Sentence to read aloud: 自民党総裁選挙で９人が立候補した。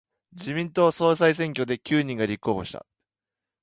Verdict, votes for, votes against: rejected, 0, 2